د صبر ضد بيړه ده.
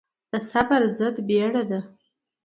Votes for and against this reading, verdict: 2, 0, accepted